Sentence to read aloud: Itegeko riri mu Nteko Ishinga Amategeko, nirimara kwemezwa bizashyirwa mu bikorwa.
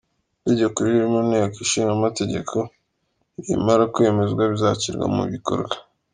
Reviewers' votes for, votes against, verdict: 2, 0, accepted